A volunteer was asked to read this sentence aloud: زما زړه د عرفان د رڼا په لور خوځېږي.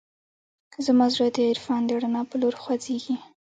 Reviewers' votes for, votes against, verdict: 2, 0, accepted